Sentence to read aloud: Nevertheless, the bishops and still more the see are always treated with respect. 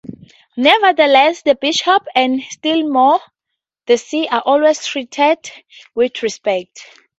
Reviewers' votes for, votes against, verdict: 0, 2, rejected